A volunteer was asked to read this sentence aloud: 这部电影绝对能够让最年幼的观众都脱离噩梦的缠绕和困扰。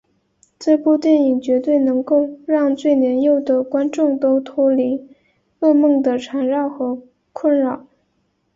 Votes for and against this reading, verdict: 2, 0, accepted